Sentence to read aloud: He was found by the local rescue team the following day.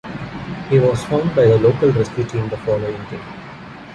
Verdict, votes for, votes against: rejected, 0, 2